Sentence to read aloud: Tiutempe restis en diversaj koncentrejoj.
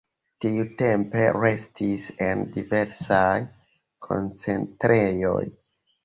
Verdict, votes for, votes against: accepted, 2, 1